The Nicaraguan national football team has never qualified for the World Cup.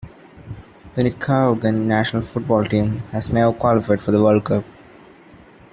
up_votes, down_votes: 0, 2